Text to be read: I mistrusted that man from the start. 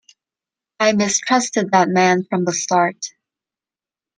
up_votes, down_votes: 2, 0